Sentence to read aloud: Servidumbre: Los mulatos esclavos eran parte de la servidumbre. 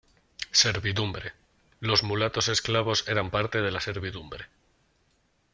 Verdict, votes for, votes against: accepted, 2, 0